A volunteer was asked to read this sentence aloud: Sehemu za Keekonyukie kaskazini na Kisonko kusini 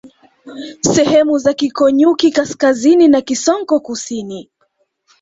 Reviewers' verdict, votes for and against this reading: accepted, 2, 0